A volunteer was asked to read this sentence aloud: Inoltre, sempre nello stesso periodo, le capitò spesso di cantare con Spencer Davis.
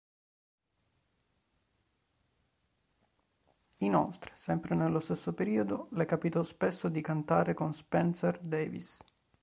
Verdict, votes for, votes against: rejected, 1, 2